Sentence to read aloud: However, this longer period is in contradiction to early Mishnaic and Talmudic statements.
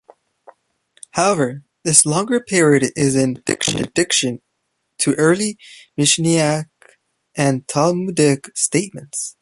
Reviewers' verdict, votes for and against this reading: rejected, 1, 2